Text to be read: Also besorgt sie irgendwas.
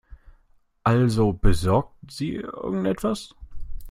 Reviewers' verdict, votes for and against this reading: rejected, 0, 2